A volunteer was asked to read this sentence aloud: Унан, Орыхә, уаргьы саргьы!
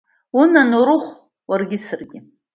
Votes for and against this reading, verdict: 2, 0, accepted